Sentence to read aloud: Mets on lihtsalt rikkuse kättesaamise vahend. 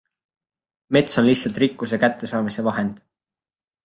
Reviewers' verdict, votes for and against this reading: accepted, 2, 1